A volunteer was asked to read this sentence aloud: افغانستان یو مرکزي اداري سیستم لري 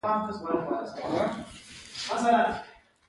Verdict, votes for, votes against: rejected, 1, 2